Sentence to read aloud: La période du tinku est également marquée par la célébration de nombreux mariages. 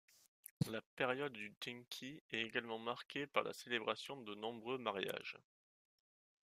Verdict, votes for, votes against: rejected, 1, 2